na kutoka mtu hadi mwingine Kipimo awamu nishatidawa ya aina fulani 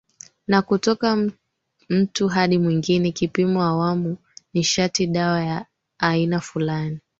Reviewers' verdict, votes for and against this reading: accepted, 2, 1